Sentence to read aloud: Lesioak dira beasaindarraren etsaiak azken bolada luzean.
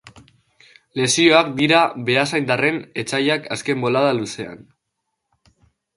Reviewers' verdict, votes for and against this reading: rejected, 1, 2